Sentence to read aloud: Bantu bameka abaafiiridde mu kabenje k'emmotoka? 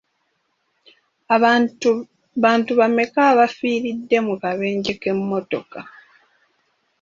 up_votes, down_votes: 2, 0